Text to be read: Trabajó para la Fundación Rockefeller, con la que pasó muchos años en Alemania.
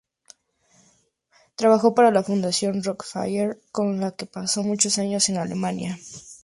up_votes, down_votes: 0, 2